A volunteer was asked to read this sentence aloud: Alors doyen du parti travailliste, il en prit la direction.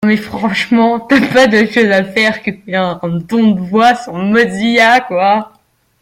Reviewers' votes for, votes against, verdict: 0, 2, rejected